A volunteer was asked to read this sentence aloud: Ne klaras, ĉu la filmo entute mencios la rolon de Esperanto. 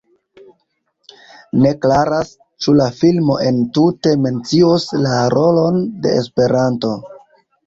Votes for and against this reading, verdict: 2, 0, accepted